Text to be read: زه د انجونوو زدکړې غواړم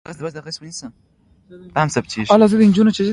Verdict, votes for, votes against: accepted, 2, 1